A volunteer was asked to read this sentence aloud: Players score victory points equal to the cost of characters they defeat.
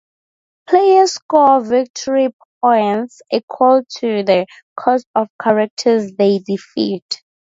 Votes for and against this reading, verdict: 4, 0, accepted